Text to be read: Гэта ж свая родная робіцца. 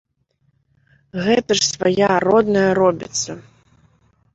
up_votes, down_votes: 2, 1